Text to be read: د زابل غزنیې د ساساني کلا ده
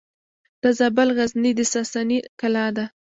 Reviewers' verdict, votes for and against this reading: accepted, 2, 0